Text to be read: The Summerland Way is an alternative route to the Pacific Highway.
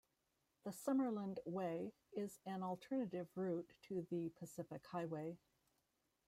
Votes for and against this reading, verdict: 1, 2, rejected